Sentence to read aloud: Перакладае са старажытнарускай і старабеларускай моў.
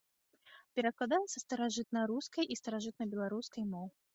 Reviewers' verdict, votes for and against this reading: rejected, 0, 2